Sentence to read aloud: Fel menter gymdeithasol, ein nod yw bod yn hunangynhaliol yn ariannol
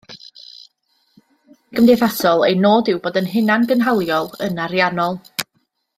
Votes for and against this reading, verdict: 0, 2, rejected